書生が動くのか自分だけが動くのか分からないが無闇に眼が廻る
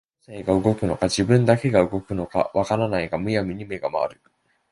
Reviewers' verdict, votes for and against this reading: rejected, 0, 2